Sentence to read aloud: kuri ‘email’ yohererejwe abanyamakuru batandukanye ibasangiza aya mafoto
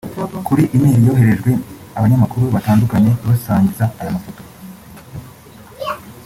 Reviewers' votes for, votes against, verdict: 0, 2, rejected